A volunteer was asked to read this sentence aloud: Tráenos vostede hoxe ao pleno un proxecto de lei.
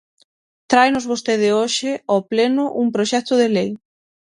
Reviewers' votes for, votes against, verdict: 6, 0, accepted